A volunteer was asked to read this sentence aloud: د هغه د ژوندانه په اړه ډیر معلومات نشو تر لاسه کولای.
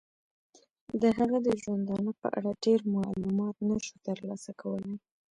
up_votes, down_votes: 1, 2